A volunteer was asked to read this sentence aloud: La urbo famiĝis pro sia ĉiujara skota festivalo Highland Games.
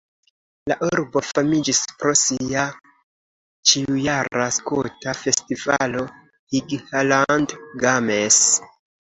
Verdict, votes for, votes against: accepted, 2, 1